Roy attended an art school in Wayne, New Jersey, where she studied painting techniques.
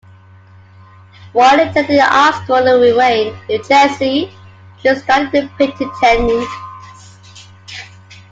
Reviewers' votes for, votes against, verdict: 0, 2, rejected